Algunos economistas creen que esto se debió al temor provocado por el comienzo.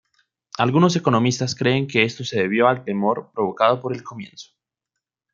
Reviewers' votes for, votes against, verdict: 2, 0, accepted